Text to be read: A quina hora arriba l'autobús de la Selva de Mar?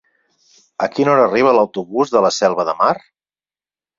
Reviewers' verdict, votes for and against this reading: accepted, 6, 0